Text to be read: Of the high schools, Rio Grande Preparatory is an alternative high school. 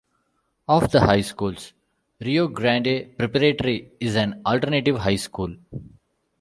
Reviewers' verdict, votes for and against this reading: rejected, 0, 2